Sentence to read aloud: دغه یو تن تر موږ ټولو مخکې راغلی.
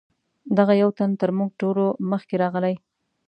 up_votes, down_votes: 2, 0